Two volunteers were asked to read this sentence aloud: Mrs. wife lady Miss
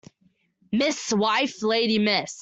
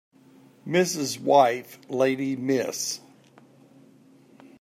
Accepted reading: second